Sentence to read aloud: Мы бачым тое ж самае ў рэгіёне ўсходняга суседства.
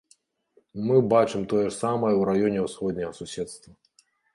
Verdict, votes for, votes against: rejected, 0, 2